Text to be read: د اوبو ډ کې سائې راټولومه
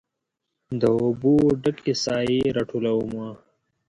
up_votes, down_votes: 2, 0